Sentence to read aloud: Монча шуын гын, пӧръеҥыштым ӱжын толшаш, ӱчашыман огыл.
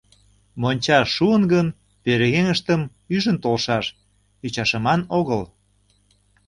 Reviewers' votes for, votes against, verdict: 2, 0, accepted